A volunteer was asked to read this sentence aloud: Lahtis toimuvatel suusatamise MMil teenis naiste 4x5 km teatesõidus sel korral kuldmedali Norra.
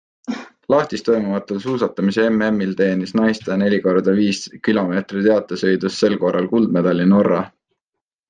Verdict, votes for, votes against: rejected, 0, 2